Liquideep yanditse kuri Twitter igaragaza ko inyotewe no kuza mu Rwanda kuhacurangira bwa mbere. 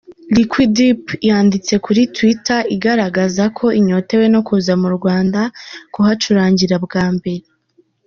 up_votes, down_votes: 1, 2